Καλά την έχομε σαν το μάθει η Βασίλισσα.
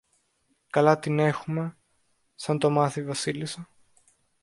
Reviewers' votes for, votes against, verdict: 1, 2, rejected